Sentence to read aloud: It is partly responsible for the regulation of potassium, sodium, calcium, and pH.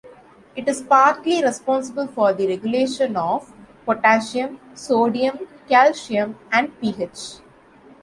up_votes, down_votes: 2, 0